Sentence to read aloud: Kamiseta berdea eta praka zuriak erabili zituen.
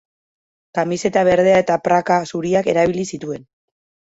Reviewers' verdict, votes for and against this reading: accepted, 2, 0